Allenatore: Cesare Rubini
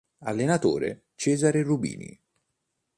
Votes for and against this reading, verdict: 3, 0, accepted